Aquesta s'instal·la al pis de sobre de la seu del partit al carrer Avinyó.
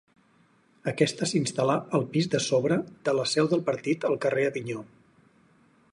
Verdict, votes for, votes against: rejected, 2, 4